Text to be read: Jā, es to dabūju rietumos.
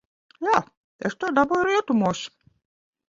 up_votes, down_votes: 1, 2